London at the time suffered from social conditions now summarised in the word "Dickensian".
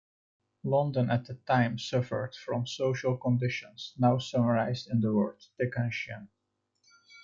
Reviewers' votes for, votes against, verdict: 2, 1, accepted